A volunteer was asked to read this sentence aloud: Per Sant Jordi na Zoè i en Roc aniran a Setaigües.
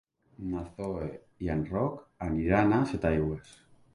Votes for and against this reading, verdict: 0, 2, rejected